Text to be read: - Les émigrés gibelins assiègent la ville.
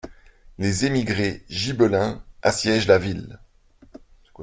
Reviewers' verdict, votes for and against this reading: accepted, 2, 0